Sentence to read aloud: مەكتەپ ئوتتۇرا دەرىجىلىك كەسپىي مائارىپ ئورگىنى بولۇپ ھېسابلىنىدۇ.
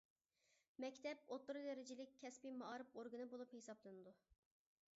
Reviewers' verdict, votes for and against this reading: accepted, 2, 0